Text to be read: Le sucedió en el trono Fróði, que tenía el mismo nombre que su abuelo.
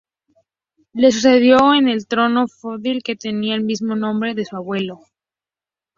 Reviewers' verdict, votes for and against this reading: rejected, 2, 2